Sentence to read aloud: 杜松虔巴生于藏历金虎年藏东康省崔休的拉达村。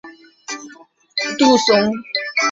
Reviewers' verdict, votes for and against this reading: rejected, 0, 2